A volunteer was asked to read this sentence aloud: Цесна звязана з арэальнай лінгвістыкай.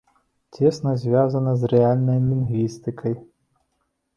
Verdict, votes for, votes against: rejected, 1, 2